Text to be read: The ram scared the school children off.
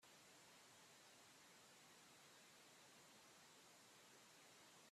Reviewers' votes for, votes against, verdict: 0, 2, rejected